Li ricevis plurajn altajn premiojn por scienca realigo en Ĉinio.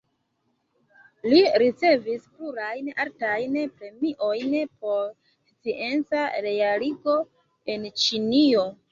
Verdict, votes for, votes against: rejected, 1, 2